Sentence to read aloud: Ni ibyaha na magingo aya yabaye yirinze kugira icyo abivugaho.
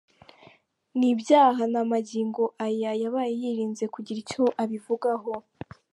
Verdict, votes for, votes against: accepted, 2, 0